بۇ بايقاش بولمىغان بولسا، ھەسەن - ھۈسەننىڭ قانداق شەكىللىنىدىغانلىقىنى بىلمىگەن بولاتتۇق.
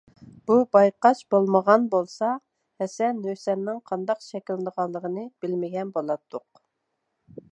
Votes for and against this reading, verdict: 2, 0, accepted